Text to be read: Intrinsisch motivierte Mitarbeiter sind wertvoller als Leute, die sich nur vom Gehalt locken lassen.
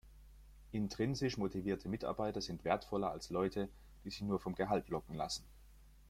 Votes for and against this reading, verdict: 2, 0, accepted